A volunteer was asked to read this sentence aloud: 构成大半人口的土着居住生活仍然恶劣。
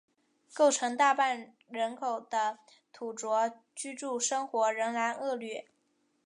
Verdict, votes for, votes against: accepted, 2, 0